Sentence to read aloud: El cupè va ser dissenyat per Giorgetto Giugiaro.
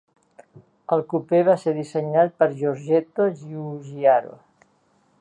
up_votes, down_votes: 2, 1